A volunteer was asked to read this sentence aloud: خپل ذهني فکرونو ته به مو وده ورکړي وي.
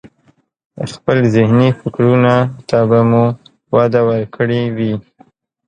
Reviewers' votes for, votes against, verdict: 0, 3, rejected